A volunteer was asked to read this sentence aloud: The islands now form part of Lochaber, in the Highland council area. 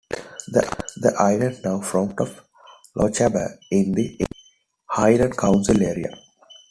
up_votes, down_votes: 1, 2